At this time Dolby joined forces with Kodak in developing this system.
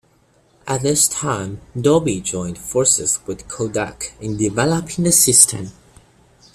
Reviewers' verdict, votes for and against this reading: accepted, 2, 1